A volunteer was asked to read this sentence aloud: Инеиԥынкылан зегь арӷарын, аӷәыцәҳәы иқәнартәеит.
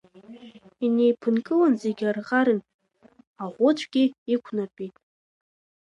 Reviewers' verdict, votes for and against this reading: rejected, 0, 2